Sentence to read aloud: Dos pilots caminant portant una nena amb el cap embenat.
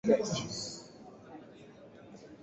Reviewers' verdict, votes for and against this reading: rejected, 0, 2